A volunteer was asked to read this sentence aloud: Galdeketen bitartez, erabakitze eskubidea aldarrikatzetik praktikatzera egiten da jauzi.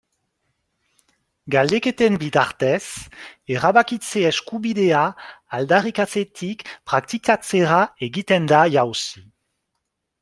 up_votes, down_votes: 2, 0